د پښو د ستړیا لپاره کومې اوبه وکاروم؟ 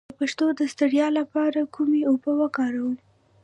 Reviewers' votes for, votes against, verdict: 2, 1, accepted